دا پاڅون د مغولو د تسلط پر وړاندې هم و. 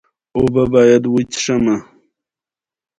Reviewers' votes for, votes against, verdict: 0, 2, rejected